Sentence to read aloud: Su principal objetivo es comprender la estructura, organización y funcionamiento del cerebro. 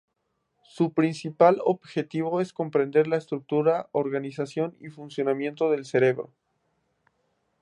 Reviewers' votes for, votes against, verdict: 2, 2, rejected